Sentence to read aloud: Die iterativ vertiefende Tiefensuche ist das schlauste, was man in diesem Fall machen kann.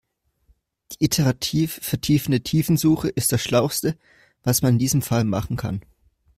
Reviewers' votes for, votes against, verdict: 2, 1, accepted